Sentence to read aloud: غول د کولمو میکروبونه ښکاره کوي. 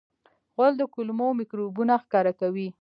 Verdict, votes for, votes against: accepted, 2, 0